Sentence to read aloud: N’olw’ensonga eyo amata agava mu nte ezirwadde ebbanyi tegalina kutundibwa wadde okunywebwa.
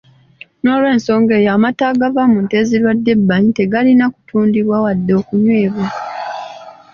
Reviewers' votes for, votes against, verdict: 2, 0, accepted